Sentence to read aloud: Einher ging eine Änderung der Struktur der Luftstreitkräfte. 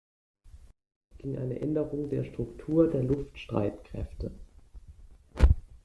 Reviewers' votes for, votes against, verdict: 0, 2, rejected